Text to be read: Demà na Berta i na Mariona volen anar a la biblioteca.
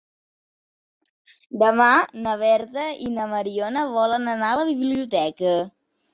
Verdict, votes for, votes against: accepted, 2, 0